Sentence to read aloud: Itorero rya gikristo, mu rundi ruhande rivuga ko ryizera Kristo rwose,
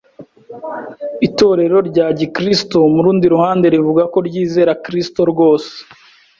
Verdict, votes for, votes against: accepted, 2, 0